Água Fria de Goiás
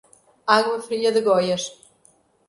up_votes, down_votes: 0, 2